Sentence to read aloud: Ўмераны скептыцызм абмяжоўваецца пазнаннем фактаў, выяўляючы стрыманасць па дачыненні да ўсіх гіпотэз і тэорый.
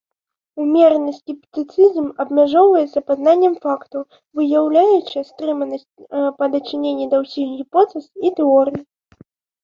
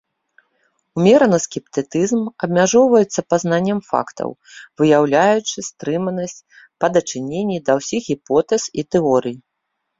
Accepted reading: first